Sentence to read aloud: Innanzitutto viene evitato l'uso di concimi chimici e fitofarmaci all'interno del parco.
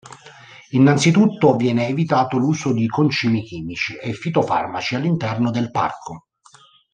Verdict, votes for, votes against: accepted, 2, 0